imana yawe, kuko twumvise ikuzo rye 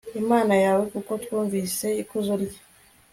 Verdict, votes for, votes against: accepted, 2, 0